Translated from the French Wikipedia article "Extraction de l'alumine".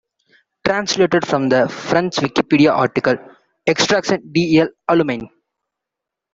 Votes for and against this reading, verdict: 1, 2, rejected